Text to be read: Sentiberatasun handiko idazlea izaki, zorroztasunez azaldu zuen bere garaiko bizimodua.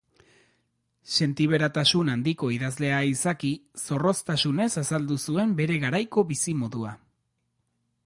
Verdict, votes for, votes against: accepted, 2, 0